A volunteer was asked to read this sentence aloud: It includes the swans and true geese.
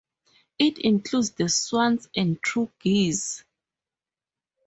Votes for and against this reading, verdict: 2, 0, accepted